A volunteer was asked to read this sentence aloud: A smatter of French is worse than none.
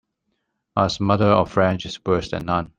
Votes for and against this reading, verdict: 1, 2, rejected